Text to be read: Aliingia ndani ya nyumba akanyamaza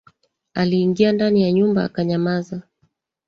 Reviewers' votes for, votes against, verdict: 2, 1, accepted